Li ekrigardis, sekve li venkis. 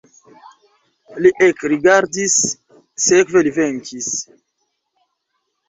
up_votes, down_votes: 2, 1